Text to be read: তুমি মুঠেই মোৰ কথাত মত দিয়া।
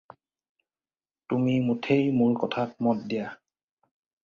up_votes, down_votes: 2, 0